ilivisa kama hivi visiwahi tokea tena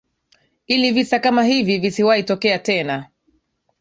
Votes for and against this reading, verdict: 2, 0, accepted